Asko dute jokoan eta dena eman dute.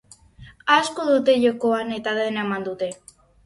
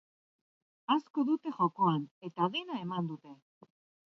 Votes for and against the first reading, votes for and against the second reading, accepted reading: 4, 0, 1, 3, first